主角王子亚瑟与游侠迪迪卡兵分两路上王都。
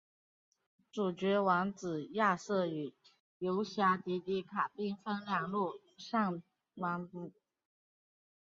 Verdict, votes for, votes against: rejected, 2, 2